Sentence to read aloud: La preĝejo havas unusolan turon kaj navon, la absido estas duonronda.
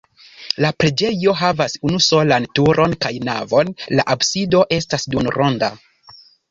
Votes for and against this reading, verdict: 1, 2, rejected